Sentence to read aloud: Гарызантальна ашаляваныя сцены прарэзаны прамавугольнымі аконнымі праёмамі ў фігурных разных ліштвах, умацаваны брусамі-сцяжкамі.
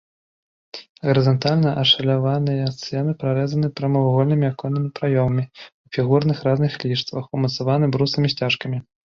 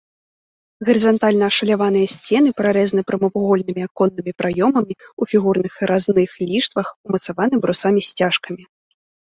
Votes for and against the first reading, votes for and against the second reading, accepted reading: 1, 2, 2, 1, second